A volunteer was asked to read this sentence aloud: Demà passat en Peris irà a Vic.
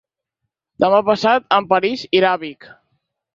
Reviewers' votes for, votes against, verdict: 2, 4, rejected